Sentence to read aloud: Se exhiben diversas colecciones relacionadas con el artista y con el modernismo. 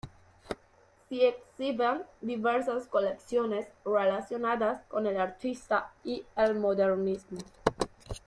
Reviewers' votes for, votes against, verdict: 0, 2, rejected